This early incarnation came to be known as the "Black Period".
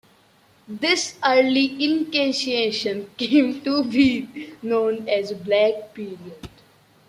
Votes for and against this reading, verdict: 0, 2, rejected